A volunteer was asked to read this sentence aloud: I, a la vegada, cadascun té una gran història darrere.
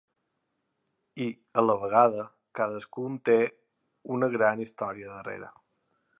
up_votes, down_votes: 2, 0